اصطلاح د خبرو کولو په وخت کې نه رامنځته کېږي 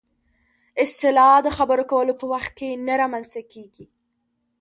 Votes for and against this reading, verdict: 0, 2, rejected